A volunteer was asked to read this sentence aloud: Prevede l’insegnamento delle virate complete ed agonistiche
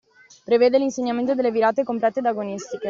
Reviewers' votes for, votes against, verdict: 2, 0, accepted